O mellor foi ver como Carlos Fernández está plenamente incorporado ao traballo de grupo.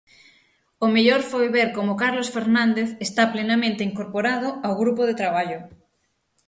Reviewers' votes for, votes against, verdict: 0, 6, rejected